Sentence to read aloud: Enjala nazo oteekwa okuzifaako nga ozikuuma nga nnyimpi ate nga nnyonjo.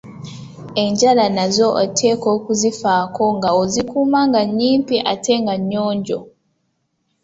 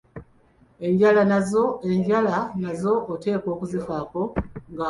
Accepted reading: first